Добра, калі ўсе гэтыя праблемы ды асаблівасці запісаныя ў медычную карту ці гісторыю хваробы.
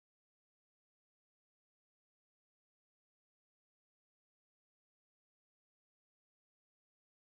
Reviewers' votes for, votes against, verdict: 0, 2, rejected